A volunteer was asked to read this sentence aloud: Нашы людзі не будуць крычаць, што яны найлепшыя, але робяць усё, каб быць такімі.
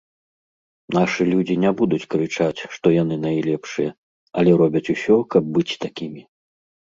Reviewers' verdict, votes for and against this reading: accepted, 2, 0